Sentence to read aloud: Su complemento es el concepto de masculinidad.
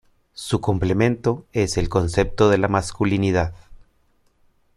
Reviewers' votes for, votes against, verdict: 0, 2, rejected